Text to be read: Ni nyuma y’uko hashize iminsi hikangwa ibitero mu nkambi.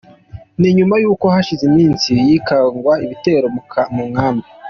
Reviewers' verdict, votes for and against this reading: accepted, 2, 0